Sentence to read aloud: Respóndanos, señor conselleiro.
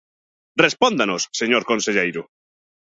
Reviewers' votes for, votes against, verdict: 2, 0, accepted